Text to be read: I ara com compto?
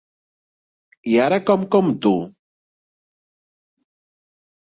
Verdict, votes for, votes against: accepted, 2, 0